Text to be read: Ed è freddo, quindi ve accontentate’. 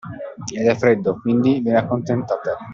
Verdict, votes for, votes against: accepted, 2, 0